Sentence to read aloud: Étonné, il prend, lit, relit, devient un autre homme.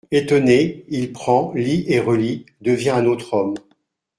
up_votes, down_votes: 0, 2